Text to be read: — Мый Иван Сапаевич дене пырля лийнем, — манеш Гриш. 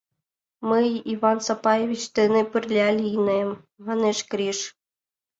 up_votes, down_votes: 2, 0